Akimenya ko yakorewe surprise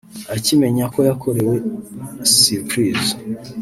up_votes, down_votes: 2, 0